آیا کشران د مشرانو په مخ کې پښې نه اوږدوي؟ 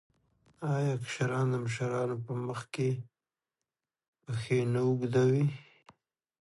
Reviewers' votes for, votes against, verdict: 2, 0, accepted